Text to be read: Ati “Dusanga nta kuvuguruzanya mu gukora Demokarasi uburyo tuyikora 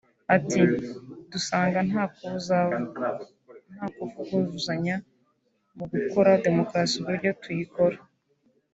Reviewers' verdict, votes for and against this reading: rejected, 0, 2